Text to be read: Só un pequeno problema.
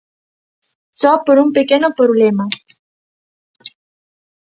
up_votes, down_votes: 0, 2